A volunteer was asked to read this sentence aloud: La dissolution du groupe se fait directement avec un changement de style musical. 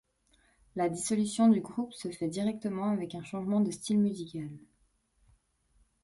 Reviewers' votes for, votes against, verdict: 2, 0, accepted